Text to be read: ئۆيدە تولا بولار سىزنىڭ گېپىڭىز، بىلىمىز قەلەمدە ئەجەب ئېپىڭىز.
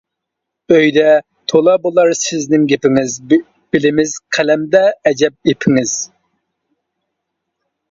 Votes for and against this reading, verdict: 1, 2, rejected